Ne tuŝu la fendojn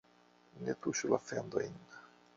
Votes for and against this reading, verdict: 2, 1, accepted